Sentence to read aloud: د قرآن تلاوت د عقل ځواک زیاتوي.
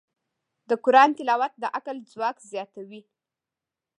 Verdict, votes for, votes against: rejected, 1, 2